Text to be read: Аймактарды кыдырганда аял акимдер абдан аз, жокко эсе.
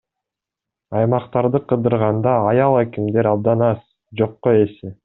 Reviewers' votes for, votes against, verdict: 2, 0, accepted